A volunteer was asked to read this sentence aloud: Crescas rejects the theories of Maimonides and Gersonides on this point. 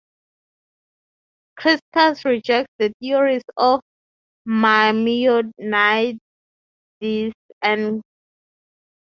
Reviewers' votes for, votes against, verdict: 3, 0, accepted